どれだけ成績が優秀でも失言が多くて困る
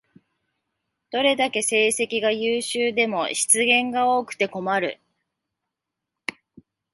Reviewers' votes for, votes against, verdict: 2, 0, accepted